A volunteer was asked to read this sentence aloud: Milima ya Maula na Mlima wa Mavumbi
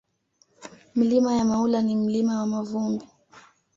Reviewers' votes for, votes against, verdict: 1, 2, rejected